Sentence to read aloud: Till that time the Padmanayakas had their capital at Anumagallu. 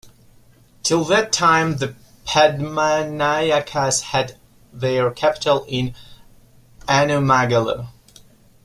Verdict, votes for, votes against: rejected, 0, 2